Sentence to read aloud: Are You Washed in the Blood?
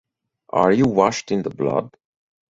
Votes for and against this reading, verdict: 4, 0, accepted